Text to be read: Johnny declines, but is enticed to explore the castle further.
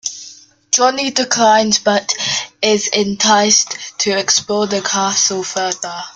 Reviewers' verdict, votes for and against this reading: accepted, 2, 0